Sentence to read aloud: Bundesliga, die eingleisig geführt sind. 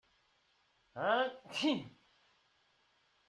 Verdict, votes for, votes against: rejected, 0, 2